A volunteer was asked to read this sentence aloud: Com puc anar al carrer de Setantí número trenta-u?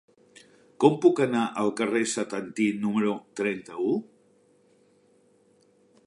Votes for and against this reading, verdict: 0, 2, rejected